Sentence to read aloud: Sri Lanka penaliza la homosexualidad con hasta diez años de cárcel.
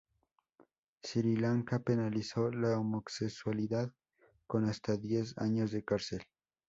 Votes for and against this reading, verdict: 2, 2, rejected